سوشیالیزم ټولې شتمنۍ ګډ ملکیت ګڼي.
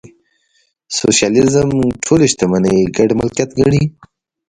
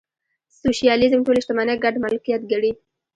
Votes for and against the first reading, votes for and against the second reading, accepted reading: 2, 0, 1, 2, first